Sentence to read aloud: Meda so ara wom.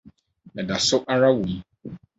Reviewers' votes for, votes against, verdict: 4, 0, accepted